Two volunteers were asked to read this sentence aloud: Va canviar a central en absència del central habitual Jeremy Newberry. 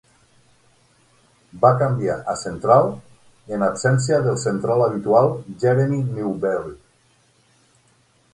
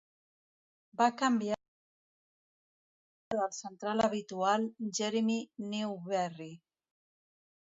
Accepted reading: first